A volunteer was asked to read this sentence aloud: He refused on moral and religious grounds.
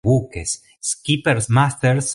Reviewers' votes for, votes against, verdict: 0, 2, rejected